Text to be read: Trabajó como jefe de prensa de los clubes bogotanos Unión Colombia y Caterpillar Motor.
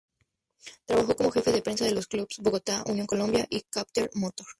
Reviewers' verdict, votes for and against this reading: rejected, 0, 2